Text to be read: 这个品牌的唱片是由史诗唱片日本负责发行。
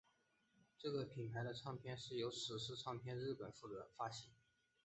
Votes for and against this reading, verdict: 2, 1, accepted